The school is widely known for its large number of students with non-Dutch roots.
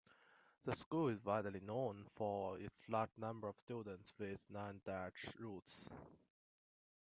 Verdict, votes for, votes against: accepted, 2, 1